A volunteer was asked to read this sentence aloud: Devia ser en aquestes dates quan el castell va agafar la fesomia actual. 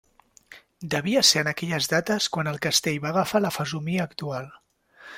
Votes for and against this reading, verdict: 0, 2, rejected